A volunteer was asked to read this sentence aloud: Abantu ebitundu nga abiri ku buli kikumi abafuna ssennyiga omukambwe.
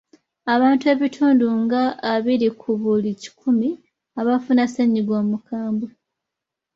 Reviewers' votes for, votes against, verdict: 2, 0, accepted